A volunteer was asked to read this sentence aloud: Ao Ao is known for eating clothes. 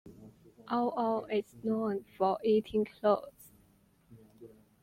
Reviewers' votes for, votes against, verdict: 2, 0, accepted